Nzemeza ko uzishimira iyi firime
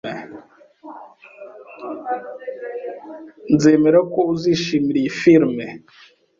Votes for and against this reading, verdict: 1, 2, rejected